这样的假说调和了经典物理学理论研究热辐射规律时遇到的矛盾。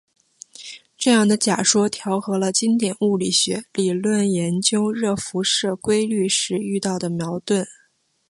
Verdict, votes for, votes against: accepted, 3, 0